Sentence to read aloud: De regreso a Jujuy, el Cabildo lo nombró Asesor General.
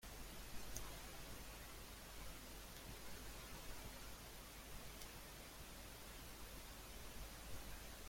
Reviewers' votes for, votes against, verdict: 0, 2, rejected